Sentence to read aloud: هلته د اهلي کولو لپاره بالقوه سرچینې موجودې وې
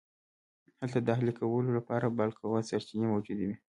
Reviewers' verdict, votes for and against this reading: rejected, 1, 2